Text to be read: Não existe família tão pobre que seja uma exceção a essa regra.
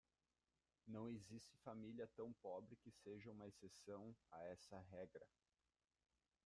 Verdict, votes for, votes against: rejected, 1, 2